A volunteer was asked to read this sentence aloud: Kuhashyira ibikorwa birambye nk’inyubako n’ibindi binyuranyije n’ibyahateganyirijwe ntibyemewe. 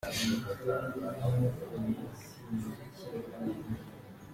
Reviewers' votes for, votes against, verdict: 0, 2, rejected